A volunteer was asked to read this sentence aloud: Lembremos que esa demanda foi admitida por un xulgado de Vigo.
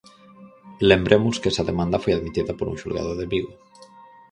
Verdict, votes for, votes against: accepted, 4, 0